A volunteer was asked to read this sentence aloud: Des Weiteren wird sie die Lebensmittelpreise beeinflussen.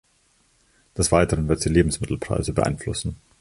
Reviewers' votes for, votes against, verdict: 0, 2, rejected